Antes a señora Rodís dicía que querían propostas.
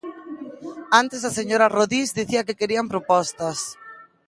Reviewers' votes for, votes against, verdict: 1, 2, rejected